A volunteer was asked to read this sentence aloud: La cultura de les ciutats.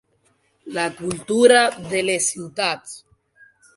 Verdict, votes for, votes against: accepted, 4, 0